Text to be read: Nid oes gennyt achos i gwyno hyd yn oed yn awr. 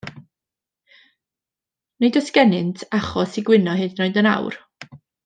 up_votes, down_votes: 0, 2